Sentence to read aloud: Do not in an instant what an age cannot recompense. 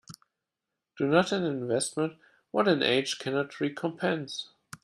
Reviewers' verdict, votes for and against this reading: rejected, 0, 2